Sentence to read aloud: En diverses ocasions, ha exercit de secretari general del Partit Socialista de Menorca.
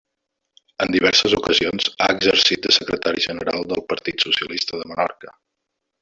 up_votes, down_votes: 1, 2